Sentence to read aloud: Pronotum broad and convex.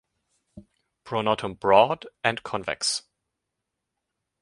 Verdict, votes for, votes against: accepted, 6, 0